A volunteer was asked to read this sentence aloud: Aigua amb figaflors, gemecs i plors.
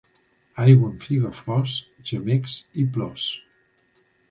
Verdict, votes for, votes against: accepted, 2, 0